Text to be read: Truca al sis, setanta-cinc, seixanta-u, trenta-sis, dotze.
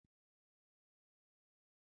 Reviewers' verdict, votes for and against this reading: rejected, 0, 2